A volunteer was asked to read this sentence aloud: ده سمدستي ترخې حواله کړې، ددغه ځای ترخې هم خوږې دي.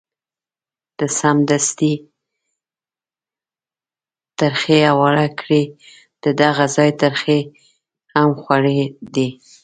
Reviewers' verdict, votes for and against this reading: rejected, 1, 2